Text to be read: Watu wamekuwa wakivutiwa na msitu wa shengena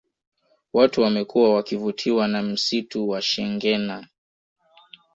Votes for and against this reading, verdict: 2, 0, accepted